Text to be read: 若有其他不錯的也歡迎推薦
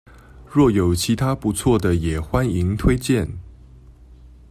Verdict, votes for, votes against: accepted, 2, 0